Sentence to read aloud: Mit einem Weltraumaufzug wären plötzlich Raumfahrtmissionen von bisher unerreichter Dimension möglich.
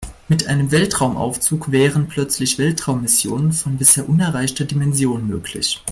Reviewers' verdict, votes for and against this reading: rejected, 0, 2